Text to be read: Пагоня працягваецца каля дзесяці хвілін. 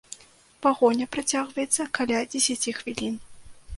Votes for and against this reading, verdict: 2, 0, accepted